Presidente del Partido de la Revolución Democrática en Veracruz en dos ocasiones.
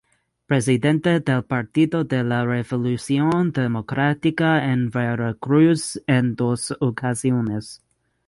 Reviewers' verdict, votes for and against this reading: accepted, 2, 0